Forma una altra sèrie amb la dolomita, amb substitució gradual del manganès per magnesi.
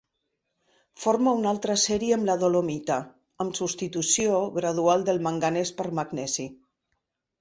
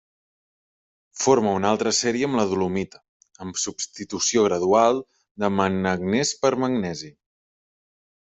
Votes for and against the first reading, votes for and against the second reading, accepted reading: 2, 0, 1, 2, first